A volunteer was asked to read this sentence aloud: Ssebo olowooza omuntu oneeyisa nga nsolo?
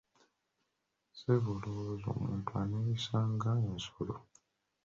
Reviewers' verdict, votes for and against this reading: rejected, 1, 2